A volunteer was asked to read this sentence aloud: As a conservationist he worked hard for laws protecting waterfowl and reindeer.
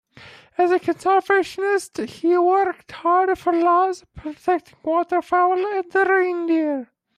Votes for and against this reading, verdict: 0, 2, rejected